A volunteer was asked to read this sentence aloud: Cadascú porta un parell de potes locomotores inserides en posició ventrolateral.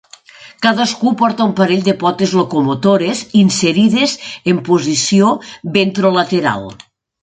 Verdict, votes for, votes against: accepted, 3, 0